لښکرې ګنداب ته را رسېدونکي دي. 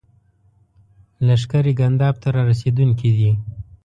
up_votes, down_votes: 2, 0